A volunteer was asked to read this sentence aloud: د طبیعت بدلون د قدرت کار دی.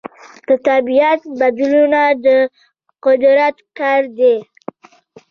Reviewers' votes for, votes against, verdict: 1, 2, rejected